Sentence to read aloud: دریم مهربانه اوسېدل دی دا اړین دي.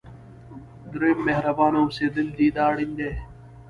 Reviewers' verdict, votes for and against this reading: rejected, 0, 2